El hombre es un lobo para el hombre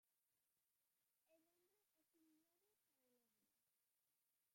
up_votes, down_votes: 0, 2